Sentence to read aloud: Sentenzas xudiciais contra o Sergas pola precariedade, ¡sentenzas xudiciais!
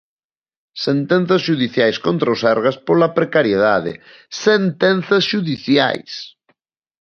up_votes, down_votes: 2, 0